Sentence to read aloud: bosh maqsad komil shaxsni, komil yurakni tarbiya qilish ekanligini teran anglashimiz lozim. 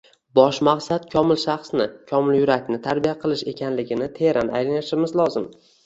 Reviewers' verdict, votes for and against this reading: accepted, 2, 0